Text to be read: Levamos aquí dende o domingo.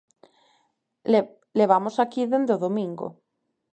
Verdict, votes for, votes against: rejected, 1, 2